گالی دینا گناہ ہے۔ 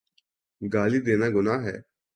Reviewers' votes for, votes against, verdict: 4, 0, accepted